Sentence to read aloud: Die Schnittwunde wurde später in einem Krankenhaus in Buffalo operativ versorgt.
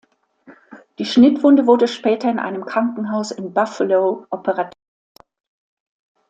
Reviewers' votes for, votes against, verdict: 0, 2, rejected